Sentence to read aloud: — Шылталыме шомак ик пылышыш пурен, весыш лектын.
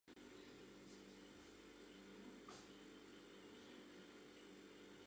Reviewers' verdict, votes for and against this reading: rejected, 1, 2